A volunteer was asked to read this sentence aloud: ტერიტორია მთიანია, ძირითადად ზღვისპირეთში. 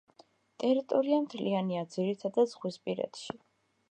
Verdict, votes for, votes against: rejected, 1, 2